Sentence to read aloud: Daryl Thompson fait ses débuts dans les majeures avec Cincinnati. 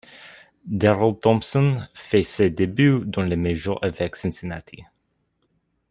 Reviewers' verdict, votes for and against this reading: rejected, 1, 2